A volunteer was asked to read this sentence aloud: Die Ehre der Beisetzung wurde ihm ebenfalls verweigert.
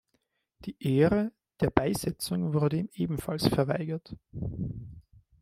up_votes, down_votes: 1, 2